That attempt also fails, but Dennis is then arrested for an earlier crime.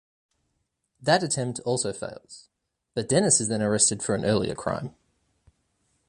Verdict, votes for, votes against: accepted, 2, 0